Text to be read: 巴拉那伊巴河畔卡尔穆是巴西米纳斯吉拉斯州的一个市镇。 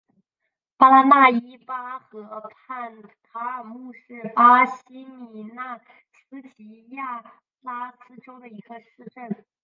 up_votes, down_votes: 2, 1